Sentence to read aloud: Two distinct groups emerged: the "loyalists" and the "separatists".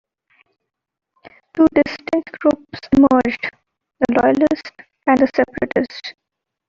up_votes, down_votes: 2, 0